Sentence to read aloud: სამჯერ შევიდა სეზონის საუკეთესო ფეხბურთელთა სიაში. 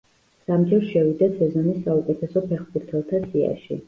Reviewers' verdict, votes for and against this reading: accepted, 2, 0